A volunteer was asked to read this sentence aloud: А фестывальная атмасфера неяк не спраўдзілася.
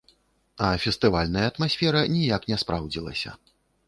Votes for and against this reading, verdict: 0, 2, rejected